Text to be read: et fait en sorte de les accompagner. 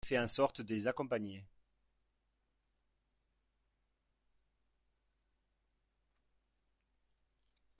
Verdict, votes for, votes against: rejected, 0, 2